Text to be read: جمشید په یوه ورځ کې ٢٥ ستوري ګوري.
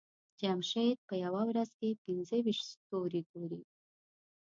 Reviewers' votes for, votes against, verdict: 0, 2, rejected